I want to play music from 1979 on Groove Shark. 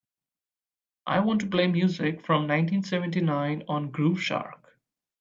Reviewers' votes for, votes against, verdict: 0, 2, rejected